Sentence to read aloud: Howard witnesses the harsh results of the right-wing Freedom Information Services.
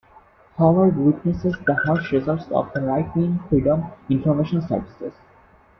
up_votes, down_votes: 2, 0